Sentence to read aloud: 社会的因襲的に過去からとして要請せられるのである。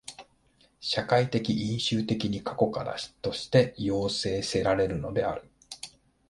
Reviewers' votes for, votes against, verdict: 47, 3, accepted